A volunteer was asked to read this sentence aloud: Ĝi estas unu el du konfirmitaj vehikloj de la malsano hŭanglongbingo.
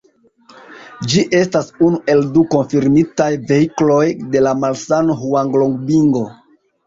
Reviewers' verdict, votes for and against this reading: accepted, 2, 0